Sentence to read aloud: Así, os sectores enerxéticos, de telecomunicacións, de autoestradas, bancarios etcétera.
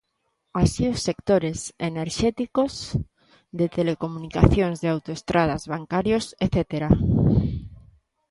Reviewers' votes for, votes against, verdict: 2, 0, accepted